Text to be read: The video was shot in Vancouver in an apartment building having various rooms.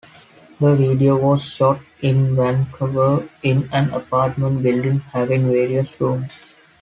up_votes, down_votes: 2, 0